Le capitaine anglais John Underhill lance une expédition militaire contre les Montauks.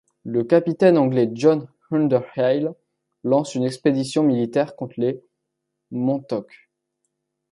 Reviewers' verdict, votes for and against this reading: rejected, 1, 2